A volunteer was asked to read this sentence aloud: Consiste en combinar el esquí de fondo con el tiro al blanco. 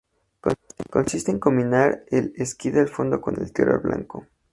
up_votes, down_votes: 2, 0